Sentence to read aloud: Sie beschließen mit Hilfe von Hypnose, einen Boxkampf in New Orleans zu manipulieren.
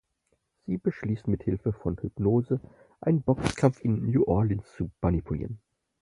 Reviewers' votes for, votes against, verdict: 4, 0, accepted